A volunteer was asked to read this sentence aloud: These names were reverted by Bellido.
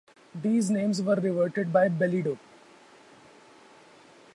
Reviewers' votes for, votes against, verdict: 0, 2, rejected